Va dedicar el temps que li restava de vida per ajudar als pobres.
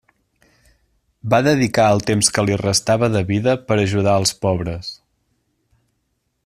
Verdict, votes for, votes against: accepted, 2, 0